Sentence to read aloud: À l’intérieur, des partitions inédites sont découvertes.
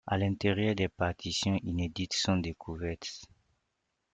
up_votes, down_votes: 2, 0